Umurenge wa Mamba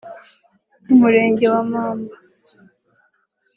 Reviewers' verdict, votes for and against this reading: accepted, 2, 0